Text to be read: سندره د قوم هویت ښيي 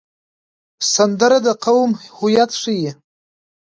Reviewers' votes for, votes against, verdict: 1, 2, rejected